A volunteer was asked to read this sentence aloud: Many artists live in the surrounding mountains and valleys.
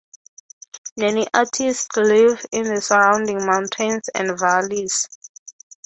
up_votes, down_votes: 6, 3